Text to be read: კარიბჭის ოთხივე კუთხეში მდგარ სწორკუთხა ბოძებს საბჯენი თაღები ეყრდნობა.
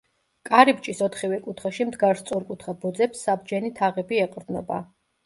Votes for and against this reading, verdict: 1, 2, rejected